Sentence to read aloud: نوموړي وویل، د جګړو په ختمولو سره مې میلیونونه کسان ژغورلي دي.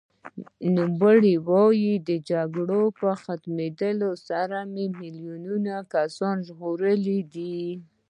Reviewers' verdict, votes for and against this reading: accepted, 2, 1